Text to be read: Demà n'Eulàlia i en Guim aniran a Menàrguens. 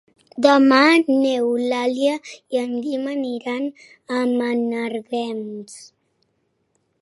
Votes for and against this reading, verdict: 2, 1, accepted